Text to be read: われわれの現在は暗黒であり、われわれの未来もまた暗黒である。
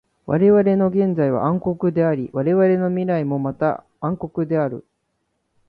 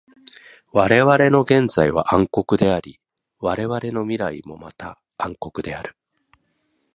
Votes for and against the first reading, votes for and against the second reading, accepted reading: 2, 0, 0, 2, first